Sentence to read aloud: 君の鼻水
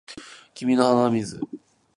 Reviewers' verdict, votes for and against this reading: rejected, 0, 2